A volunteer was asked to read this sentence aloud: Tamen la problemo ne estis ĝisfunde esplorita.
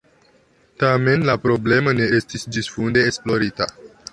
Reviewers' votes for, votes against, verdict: 0, 2, rejected